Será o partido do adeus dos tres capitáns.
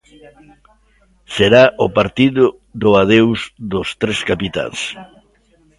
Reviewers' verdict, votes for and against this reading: accepted, 2, 0